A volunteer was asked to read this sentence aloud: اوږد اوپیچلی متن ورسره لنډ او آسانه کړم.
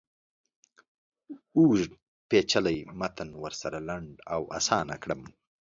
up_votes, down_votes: 1, 2